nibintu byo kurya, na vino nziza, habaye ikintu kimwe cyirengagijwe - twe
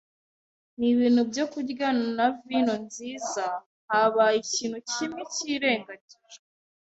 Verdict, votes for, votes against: accepted, 2, 1